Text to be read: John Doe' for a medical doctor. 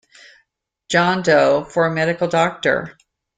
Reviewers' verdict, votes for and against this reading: accepted, 2, 0